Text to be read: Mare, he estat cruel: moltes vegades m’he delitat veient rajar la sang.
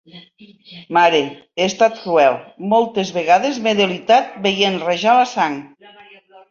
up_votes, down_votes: 3, 0